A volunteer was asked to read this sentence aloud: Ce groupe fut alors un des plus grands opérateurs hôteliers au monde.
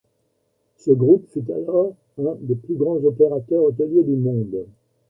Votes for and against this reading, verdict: 1, 2, rejected